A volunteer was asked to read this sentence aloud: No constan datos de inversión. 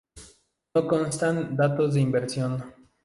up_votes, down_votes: 2, 0